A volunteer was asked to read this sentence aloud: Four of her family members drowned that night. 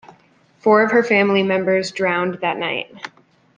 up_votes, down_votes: 2, 0